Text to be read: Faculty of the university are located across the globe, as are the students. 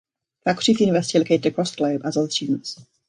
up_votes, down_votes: 0, 3